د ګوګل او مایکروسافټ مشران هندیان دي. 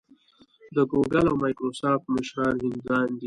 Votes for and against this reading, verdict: 1, 2, rejected